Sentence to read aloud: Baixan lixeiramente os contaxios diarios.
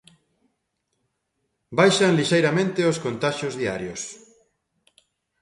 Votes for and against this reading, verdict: 2, 0, accepted